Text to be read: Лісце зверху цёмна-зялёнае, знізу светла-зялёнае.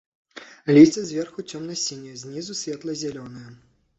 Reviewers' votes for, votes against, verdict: 0, 2, rejected